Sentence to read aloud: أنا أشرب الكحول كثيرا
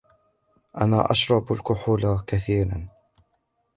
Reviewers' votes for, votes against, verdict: 2, 0, accepted